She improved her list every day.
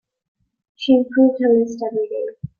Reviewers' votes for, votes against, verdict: 3, 0, accepted